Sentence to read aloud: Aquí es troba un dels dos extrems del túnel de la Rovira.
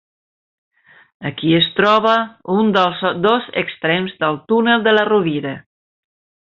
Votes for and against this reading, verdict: 1, 2, rejected